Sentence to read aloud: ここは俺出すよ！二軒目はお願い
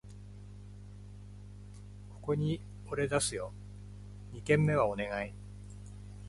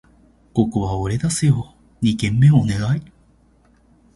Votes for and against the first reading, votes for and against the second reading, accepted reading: 0, 2, 3, 0, second